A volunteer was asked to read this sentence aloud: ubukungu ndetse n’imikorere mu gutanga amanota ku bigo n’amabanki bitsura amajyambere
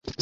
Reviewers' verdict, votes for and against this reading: accepted, 2, 1